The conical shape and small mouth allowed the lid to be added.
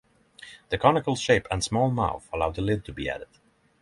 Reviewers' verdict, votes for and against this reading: accepted, 6, 0